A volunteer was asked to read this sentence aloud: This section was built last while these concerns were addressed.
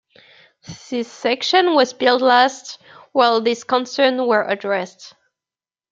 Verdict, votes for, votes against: rejected, 1, 2